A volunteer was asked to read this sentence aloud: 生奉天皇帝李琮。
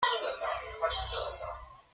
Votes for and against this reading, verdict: 0, 2, rejected